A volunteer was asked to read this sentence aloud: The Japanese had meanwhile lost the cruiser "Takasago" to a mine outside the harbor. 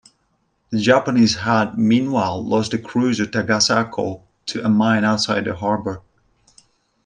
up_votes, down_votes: 2, 0